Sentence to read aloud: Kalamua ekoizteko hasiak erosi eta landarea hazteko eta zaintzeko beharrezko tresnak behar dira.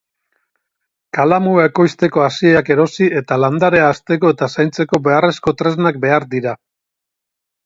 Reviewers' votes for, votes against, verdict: 2, 2, rejected